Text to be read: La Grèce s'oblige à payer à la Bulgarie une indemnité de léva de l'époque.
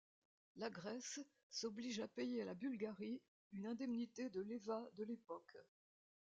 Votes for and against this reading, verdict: 2, 0, accepted